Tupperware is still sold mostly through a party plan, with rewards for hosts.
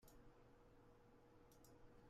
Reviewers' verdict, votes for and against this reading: rejected, 0, 2